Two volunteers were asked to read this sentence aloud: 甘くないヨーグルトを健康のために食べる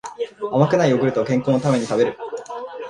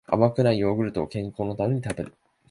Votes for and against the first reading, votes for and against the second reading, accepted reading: 0, 2, 2, 0, second